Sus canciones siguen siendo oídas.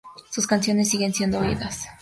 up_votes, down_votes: 2, 0